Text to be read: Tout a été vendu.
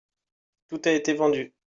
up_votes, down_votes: 2, 0